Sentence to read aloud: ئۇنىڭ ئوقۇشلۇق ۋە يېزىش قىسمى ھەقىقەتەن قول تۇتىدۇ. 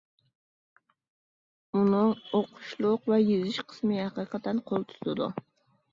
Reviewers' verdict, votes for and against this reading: accepted, 2, 0